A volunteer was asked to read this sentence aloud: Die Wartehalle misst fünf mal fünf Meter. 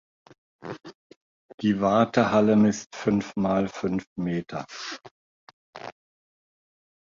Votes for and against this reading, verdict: 2, 0, accepted